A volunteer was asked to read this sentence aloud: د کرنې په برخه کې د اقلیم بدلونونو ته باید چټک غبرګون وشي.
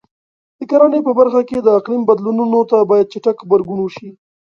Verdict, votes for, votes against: accepted, 2, 0